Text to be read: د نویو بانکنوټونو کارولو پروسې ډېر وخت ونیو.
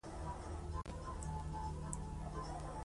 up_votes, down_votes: 3, 2